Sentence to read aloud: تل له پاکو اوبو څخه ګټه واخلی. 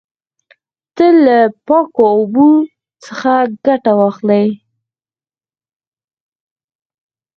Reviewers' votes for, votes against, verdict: 2, 4, rejected